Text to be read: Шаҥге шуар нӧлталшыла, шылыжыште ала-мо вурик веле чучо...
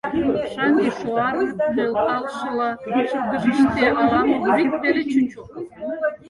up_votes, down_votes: 2, 4